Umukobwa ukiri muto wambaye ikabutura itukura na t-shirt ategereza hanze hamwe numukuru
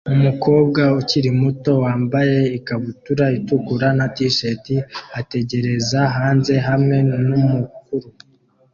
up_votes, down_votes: 2, 1